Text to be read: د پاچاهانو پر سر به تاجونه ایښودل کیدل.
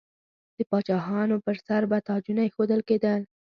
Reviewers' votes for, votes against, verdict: 3, 0, accepted